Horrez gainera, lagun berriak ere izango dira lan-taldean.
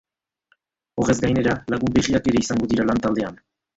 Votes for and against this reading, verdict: 1, 2, rejected